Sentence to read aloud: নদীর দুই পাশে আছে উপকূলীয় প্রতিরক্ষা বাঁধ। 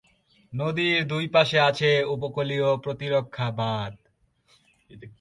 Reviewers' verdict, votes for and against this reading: accepted, 2, 0